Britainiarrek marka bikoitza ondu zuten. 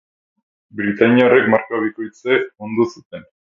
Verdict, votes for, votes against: rejected, 0, 4